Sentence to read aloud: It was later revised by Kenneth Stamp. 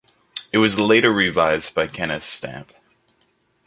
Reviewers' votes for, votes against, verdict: 2, 0, accepted